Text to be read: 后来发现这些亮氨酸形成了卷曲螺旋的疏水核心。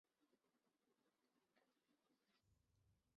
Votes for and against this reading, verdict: 2, 1, accepted